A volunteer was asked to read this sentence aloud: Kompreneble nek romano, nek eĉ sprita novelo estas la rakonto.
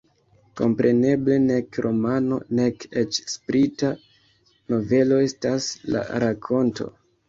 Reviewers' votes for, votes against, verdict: 1, 2, rejected